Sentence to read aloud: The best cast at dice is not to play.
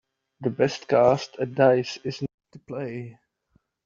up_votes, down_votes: 1, 2